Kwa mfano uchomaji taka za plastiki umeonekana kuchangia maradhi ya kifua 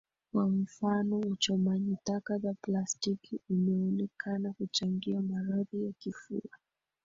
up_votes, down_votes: 1, 2